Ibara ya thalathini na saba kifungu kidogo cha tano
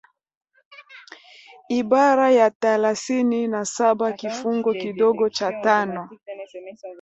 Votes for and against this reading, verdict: 1, 2, rejected